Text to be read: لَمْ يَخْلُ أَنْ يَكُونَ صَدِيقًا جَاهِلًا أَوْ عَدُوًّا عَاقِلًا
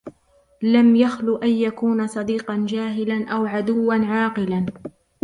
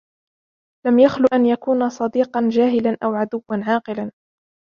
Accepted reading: second